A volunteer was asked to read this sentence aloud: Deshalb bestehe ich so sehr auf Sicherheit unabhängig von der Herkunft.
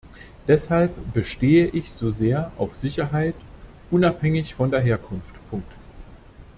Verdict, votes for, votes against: rejected, 1, 2